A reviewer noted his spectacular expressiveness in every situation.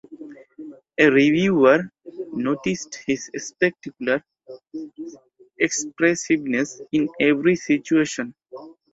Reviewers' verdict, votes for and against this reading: rejected, 0, 6